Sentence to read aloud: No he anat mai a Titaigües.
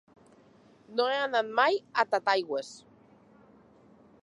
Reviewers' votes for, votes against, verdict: 0, 2, rejected